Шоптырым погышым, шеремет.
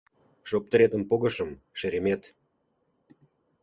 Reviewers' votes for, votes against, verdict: 0, 2, rejected